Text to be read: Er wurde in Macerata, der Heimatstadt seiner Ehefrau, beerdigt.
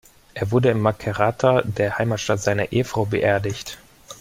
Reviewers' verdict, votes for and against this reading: accepted, 2, 0